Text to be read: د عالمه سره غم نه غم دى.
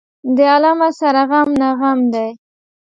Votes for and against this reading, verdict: 2, 0, accepted